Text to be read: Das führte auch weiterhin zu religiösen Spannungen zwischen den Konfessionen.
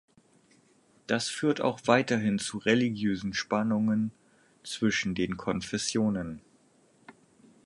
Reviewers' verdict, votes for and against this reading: rejected, 2, 4